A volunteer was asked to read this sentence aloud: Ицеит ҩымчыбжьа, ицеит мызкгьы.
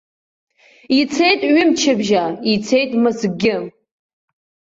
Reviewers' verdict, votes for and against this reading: accepted, 2, 0